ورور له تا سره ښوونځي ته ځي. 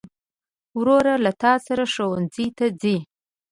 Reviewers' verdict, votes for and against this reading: accepted, 2, 1